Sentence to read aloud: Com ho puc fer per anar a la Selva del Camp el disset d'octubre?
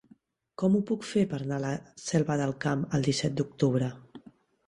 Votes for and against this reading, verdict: 1, 2, rejected